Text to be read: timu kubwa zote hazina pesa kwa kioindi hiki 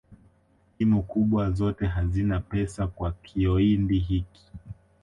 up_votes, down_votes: 1, 2